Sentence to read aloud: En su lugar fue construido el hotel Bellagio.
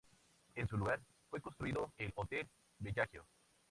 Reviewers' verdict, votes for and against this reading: accepted, 2, 0